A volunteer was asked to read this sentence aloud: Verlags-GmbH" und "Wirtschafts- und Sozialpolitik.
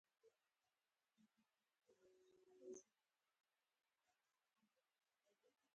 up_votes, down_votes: 0, 4